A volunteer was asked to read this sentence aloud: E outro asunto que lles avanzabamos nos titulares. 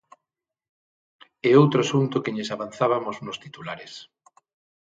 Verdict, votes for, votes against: rejected, 0, 6